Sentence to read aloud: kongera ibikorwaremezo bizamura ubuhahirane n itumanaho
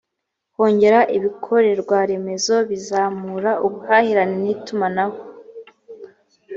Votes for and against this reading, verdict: 1, 2, rejected